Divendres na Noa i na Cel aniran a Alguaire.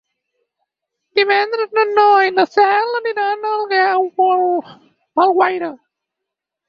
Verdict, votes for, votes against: rejected, 0, 4